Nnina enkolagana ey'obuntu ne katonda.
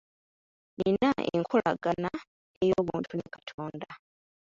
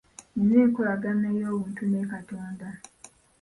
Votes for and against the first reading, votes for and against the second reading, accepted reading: 0, 2, 2, 0, second